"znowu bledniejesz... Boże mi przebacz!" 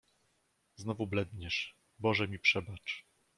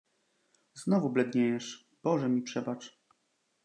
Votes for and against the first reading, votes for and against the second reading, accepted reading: 1, 2, 2, 0, second